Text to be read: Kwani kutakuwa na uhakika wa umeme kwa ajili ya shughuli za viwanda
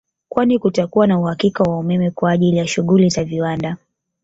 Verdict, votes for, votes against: rejected, 0, 2